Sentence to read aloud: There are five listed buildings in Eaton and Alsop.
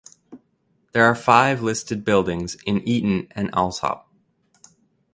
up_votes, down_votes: 2, 0